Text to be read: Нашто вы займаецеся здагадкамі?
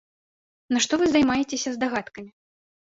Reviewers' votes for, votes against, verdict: 2, 0, accepted